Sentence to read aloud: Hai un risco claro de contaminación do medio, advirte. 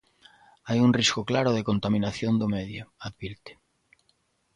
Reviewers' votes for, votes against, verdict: 2, 0, accepted